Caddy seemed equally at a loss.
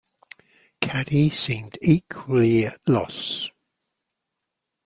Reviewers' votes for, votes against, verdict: 0, 2, rejected